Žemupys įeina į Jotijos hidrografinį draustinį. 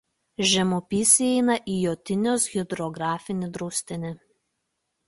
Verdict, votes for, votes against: rejected, 1, 2